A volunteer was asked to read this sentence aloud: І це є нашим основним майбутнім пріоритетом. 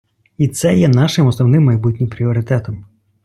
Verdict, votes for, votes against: accepted, 2, 1